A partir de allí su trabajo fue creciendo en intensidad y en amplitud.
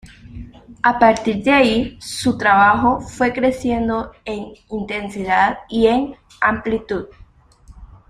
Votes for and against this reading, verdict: 2, 0, accepted